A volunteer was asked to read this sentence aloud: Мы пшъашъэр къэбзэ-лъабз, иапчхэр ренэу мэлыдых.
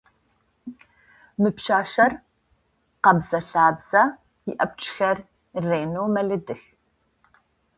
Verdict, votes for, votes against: rejected, 0, 2